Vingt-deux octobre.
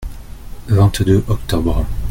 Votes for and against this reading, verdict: 2, 0, accepted